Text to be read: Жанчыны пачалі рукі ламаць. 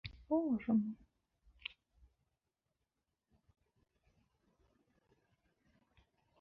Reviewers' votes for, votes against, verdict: 0, 3, rejected